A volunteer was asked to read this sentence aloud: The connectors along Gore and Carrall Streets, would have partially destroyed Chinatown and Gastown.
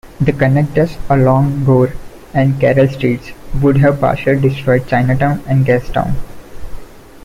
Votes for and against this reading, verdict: 2, 1, accepted